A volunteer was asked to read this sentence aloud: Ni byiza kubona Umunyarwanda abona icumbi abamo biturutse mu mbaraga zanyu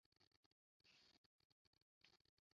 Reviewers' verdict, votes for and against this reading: rejected, 0, 2